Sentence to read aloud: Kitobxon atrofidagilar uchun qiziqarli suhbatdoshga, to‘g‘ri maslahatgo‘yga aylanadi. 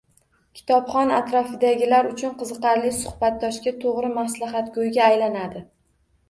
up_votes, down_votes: 0, 2